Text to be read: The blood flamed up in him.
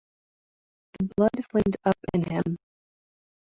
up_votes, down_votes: 2, 0